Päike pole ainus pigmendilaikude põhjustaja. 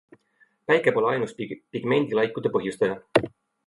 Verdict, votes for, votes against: accepted, 2, 1